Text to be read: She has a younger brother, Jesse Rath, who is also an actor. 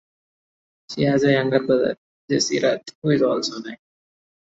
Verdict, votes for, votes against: rejected, 1, 2